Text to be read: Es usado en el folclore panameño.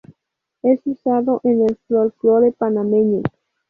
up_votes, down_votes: 2, 2